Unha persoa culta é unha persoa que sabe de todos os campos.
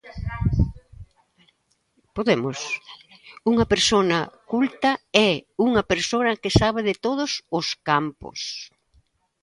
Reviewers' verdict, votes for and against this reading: rejected, 0, 2